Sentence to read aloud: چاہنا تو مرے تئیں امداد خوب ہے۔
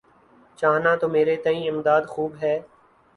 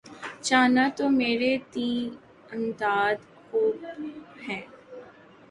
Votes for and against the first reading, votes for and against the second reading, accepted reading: 7, 1, 0, 2, first